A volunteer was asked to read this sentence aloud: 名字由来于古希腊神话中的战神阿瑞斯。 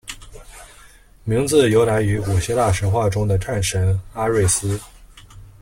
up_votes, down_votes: 2, 0